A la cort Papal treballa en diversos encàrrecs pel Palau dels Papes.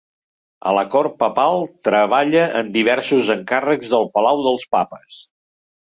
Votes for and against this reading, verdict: 0, 2, rejected